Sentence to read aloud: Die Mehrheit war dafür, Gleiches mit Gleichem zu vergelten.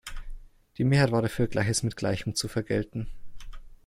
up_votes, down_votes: 1, 2